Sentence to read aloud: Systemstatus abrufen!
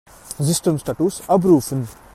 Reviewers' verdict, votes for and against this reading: accepted, 2, 1